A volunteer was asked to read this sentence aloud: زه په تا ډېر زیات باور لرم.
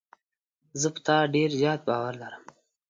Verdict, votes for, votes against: accepted, 2, 0